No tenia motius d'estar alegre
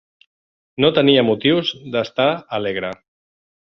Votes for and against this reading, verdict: 2, 0, accepted